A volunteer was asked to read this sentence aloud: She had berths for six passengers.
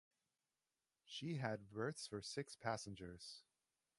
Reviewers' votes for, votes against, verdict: 4, 2, accepted